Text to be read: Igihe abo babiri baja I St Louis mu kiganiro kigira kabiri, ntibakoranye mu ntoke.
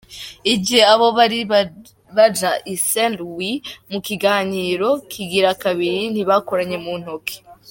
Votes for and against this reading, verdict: 1, 3, rejected